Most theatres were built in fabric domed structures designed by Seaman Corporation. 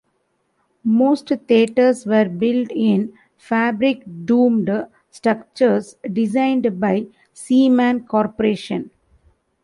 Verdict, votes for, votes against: rejected, 1, 2